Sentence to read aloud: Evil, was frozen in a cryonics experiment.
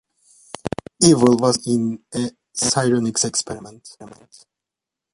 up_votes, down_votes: 0, 2